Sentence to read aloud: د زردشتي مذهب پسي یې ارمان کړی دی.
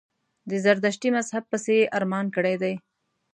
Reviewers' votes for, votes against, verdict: 2, 0, accepted